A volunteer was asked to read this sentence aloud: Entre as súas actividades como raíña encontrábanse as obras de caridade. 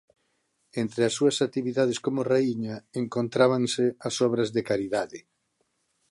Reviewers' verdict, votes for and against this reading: accepted, 2, 0